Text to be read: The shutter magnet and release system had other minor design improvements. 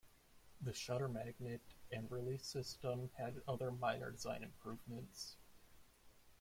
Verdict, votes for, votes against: accepted, 2, 0